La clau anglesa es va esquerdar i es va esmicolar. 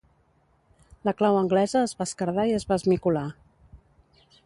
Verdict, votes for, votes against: accepted, 2, 0